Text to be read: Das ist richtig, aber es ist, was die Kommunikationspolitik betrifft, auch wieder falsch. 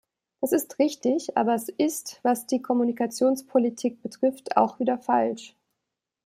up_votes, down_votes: 2, 0